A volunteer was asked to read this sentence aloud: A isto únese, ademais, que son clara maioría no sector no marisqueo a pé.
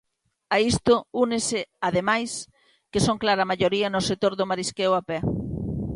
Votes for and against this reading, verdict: 1, 2, rejected